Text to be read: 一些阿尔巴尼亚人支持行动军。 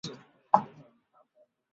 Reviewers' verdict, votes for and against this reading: rejected, 0, 4